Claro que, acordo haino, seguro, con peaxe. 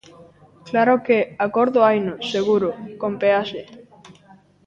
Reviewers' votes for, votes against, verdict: 2, 1, accepted